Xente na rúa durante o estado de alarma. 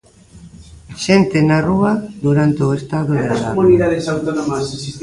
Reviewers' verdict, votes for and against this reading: rejected, 1, 2